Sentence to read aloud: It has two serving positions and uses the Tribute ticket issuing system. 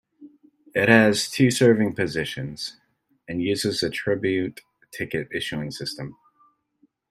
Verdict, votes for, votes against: accepted, 2, 0